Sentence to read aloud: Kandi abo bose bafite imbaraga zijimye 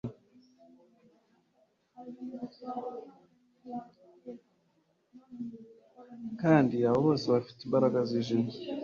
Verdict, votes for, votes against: accepted, 2, 1